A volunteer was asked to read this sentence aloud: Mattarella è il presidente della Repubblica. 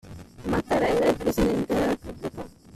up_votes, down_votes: 2, 0